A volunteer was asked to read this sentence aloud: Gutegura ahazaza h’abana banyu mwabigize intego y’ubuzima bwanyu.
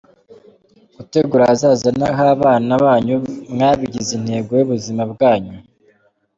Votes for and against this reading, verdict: 2, 1, accepted